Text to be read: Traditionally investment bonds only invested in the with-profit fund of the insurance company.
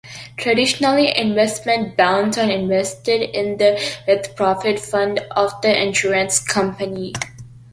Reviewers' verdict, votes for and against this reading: accepted, 2, 0